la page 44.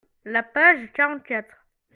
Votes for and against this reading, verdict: 0, 2, rejected